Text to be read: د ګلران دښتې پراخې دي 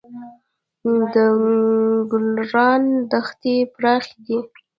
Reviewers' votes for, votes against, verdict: 0, 2, rejected